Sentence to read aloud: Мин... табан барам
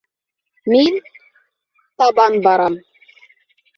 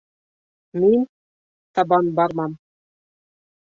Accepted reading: first